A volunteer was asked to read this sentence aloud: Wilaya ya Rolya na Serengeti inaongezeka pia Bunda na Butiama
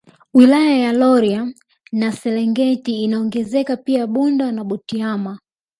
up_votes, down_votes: 0, 3